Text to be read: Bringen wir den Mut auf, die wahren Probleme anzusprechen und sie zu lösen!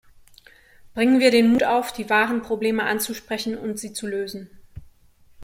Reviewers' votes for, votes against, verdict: 2, 1, accepted